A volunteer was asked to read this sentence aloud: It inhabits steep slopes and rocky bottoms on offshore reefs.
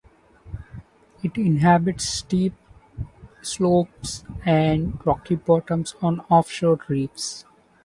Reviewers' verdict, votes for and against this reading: accepted, 2, 1